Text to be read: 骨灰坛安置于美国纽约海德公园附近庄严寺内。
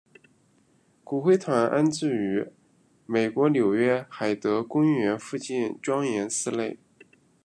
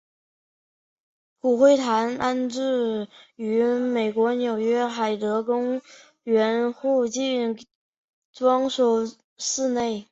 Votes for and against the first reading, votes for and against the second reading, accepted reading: 2, 1, 0, 3, first